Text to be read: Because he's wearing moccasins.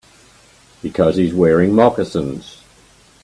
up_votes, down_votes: 2, 0